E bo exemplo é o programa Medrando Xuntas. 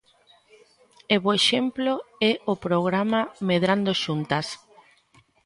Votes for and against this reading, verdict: 2, 1, accepted